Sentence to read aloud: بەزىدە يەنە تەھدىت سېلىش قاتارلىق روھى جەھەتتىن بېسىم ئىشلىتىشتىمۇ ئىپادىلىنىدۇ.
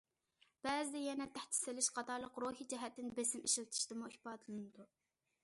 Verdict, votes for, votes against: accepted, 2, 0